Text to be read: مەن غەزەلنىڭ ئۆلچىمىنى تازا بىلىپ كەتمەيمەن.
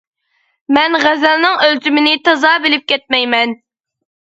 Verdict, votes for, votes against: accepted, 2, 0